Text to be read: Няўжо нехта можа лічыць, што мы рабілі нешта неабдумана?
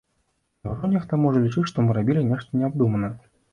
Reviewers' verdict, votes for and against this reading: rejected, 1, 2